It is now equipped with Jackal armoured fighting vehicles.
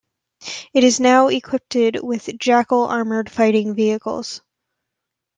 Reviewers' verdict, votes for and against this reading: rejected, 1, 2